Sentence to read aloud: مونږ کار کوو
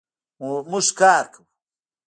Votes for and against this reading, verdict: 1, 2, rejected